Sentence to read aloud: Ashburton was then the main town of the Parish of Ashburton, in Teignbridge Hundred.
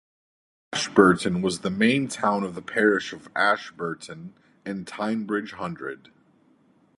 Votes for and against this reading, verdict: 4, 0, accepted